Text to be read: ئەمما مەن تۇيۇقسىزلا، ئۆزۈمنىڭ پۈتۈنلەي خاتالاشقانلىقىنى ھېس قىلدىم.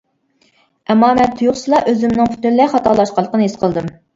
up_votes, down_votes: 2, 0